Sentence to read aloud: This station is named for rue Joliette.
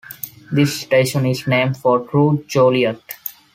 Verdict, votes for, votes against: accepted, 2, 0